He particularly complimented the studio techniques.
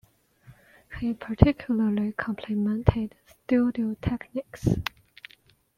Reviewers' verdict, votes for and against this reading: rejected, 0, 2